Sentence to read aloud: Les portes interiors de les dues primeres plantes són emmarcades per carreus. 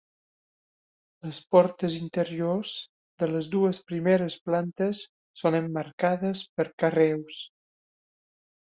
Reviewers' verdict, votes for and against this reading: accepted, 3, 1